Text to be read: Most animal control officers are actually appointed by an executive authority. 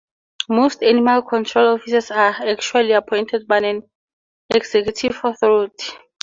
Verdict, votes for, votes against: accepted, 4, 2